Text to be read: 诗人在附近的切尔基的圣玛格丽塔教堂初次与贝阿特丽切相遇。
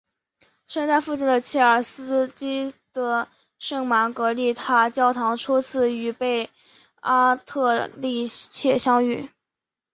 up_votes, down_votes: 2, 1